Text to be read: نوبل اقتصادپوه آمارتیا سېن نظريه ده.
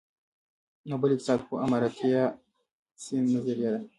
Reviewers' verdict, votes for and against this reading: rejected, 0, 2